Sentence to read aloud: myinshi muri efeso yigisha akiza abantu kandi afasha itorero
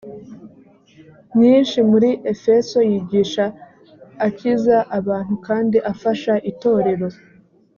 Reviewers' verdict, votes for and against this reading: accepted, 4, 0